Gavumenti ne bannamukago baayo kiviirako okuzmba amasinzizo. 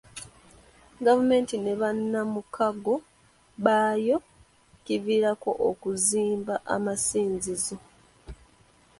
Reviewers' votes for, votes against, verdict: 2, 0, accepted